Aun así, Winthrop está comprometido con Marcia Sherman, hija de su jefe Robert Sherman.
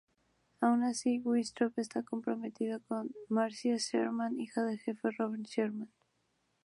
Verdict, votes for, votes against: rejected, 0, 2